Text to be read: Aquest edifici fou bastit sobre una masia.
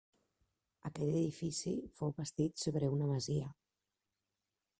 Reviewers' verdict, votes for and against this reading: rejected, 0, 2